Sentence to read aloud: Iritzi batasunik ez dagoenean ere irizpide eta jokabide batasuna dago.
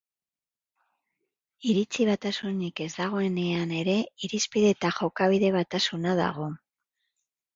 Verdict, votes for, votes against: accepted, 4, 0